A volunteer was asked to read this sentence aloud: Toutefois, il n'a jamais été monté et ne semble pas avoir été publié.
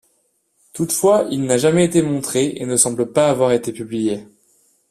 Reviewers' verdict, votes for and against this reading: rejected, 1, 2